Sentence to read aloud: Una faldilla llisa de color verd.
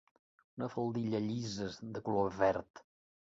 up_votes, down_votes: 1, 2